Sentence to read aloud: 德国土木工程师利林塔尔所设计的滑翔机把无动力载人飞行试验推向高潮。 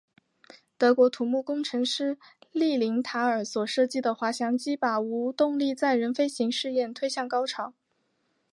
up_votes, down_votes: 4, 1